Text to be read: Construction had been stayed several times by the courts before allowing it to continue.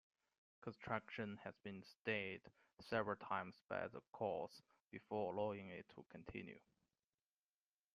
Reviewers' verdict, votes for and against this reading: accepted, 2, 1